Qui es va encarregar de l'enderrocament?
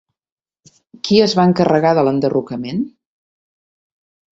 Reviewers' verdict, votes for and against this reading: accepted, 3, 0